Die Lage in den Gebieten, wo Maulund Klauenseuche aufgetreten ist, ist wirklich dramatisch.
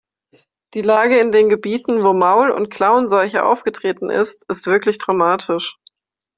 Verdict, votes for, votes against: accepted, 2, 1